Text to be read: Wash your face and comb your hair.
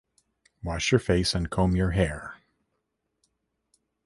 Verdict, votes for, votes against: rejected, 1, 2